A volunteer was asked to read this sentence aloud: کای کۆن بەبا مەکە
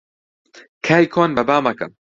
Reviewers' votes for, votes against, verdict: 2, 0, accepted